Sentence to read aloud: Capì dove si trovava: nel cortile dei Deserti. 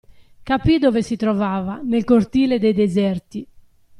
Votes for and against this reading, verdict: 2, 0, accepted